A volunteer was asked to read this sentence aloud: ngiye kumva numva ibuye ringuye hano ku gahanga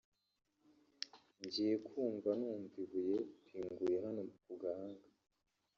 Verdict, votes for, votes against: rejected, 1, 2